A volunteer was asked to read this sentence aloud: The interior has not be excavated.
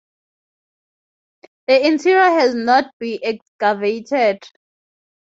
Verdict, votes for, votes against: accepted, 2, 0